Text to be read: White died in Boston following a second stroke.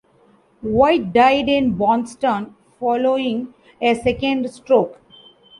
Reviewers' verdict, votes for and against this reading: rejected, 1, 2